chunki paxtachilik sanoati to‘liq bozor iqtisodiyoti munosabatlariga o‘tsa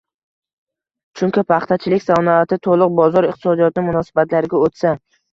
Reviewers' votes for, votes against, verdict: 1, 2, rejected